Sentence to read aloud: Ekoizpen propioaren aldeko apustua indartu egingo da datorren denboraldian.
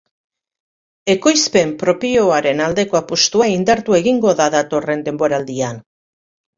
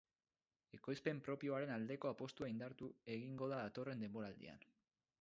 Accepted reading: first